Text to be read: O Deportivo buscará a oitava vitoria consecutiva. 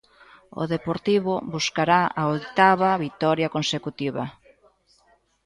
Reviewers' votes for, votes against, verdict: 0, 2, rejected